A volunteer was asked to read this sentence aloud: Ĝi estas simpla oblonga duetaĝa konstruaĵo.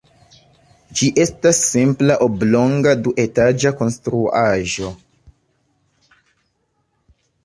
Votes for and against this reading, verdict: 2, 0, accepted